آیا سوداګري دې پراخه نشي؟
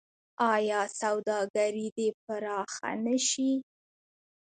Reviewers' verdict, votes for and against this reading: accepted, 2, 1